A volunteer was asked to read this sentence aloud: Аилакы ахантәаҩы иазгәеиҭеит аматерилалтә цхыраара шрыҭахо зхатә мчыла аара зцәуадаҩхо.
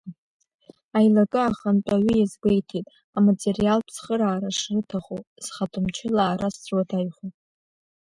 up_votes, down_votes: 1, 2